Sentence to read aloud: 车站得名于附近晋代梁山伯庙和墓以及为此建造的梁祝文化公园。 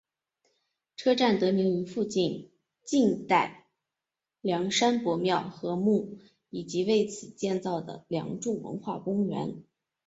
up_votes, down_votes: 2, 0